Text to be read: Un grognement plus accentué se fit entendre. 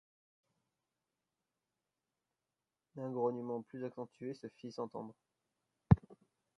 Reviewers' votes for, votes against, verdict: 0, 2, rejected